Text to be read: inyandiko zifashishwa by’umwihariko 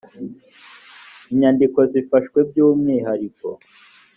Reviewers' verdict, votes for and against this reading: rejected, 0, 3